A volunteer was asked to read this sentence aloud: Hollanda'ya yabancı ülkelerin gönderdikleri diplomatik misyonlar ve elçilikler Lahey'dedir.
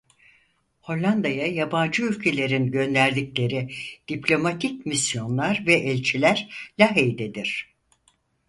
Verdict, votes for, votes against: rejected, 0, 4